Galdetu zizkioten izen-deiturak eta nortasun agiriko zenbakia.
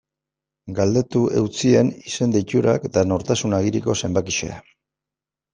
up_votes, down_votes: 0, 2